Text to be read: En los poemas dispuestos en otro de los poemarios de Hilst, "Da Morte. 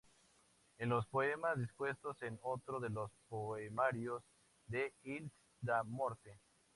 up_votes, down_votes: 2, 0